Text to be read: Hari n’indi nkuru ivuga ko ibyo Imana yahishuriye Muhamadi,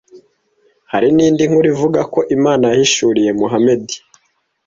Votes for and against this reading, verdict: 1, 2, rejected